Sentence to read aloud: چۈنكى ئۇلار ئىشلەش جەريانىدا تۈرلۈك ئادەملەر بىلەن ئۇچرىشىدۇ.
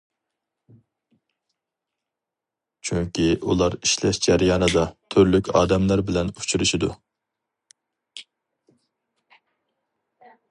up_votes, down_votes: 4, 0